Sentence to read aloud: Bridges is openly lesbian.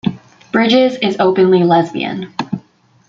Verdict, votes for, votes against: rejected, 0, 2